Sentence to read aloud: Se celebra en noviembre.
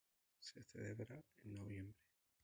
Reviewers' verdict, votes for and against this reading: rejected, 0, 2